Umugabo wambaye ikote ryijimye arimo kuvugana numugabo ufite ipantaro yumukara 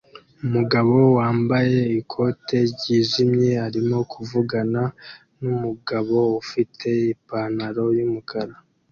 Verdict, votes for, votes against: accepted, 2, 0